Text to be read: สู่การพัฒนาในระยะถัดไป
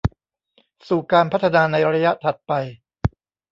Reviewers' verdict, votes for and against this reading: rejected, 1, 2